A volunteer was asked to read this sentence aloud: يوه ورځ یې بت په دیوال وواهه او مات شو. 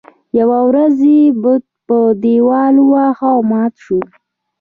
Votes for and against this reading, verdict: 2, 0, accepted